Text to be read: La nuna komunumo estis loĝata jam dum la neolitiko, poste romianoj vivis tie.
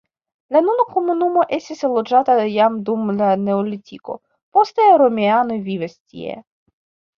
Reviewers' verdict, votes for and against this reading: rejected, 1, 2